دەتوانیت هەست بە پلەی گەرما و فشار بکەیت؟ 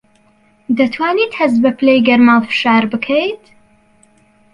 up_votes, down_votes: 2, 0